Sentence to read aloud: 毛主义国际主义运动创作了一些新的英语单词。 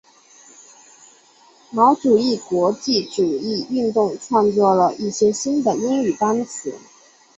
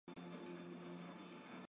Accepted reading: first